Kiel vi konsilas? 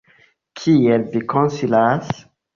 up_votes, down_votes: 2, 1